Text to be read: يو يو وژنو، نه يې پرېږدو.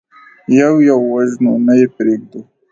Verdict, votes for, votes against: accepted, 2, 0